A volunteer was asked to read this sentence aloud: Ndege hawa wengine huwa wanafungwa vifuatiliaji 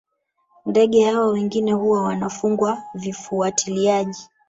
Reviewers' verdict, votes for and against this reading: accepted, 2, 1